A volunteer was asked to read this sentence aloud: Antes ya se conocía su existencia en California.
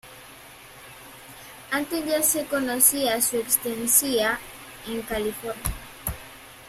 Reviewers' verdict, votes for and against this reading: rejected, 0, 2